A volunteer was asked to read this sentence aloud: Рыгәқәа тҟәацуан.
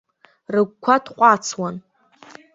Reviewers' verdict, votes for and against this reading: rejected, 1, 3